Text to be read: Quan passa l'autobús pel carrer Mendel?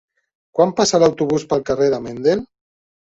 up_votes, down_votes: 2, 3